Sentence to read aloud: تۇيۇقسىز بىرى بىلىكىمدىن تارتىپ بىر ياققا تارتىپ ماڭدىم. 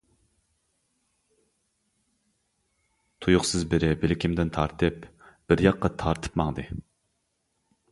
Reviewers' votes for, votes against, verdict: 1, 2, rejected